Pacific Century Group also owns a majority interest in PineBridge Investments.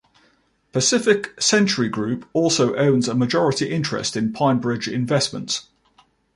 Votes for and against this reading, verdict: 2, 0, accepted